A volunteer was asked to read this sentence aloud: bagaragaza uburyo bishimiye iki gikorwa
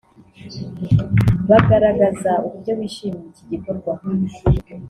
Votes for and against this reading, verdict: 1, 2, rejected